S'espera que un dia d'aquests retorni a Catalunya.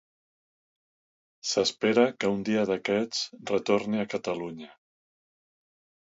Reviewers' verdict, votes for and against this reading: accepted, 2, 0